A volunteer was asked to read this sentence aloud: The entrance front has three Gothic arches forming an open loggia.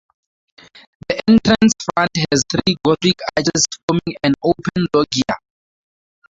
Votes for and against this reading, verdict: 0, 2, rejected